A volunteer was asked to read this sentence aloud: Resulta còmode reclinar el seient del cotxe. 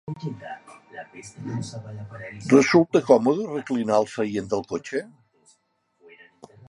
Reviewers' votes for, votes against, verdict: 0, 3, rejected